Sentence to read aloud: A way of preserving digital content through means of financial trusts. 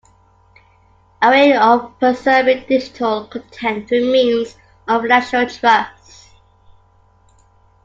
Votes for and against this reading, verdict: 0, 2, rejected